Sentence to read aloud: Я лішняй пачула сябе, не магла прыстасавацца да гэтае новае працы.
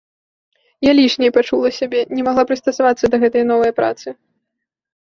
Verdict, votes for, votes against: accepted, 2, 0